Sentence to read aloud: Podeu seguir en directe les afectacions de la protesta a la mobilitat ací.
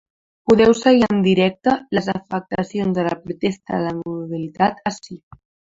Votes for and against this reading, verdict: 2, 0, accepted